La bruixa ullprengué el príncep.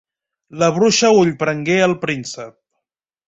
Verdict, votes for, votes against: accepted, 2, 0